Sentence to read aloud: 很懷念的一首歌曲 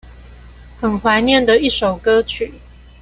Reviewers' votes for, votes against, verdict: 2, 0, accepted